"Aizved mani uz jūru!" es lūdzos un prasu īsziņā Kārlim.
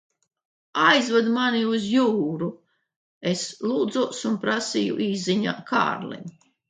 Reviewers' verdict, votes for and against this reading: rejected, 1, 2